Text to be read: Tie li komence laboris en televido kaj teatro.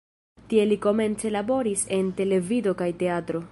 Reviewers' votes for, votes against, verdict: 2, 1, accepted